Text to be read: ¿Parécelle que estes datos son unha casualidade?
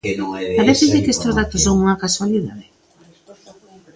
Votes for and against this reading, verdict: 0, 2, rejected